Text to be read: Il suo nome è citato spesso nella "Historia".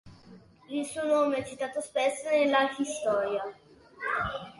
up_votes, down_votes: 1, 2